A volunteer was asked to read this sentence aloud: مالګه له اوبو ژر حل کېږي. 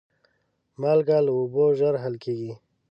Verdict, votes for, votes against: accepted, 2, 0